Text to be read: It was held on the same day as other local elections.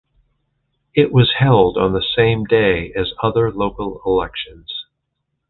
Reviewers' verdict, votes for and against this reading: accepted, 2, 0